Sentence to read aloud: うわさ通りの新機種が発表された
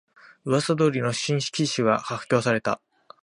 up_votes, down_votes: 1, 2